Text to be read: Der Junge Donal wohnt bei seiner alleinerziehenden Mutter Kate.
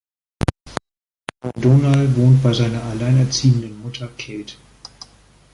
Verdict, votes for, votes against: rejected, 0, 2